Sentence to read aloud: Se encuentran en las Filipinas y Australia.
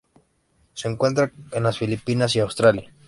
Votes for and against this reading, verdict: 1, 2, rejected